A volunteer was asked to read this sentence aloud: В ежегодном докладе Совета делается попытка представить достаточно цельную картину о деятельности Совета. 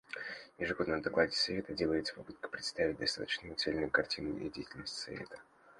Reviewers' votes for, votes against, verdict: 2, 1, accepted